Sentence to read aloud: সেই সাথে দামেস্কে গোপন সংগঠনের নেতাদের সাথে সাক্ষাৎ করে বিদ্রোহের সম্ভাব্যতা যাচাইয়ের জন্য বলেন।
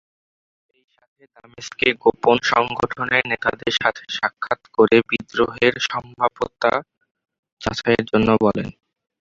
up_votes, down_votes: 0, 2